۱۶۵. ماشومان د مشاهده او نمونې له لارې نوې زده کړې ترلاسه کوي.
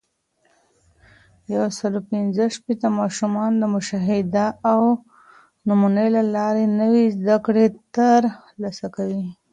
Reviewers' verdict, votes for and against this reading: rejected, 0, 2